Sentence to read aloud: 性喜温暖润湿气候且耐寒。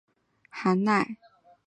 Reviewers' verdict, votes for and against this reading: accepted, 5, 4